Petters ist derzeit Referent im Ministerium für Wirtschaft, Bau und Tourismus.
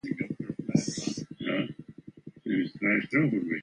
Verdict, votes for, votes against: rejected, 0, 2